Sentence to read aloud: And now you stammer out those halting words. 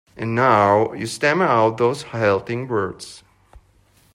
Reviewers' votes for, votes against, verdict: 0, 2, rejected